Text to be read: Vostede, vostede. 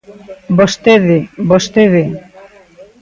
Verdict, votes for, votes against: accepted, 2, 0